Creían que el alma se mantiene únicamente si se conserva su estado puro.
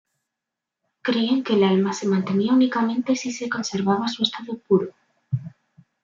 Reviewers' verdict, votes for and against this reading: rejected, 1, 2